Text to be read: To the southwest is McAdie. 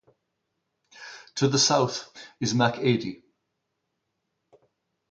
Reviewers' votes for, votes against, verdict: 0, 2, rejected